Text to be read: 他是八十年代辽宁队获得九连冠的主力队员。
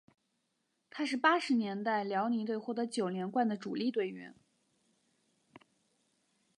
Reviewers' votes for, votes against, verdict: 2, 0, accepted